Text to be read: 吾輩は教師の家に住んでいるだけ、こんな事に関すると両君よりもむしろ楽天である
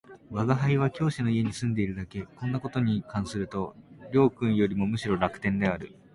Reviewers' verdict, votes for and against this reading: accepted, 2, 0